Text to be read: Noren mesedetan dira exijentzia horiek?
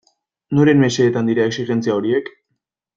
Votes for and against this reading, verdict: 2, 0, accepted